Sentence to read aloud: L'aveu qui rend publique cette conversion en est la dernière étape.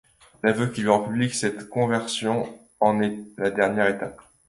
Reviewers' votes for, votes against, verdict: 2, 0, accepted